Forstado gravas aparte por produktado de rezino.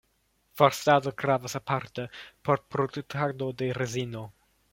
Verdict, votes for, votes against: rejected, 0, 2